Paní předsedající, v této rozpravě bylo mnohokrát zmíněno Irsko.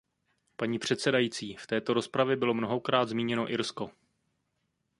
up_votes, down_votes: 2, 0